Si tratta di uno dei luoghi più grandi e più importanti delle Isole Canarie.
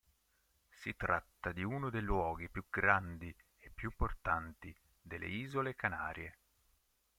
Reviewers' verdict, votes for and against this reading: accepted, 2, 0